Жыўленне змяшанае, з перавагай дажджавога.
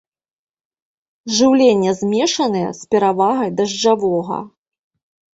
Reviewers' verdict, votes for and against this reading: rejected, 0, 2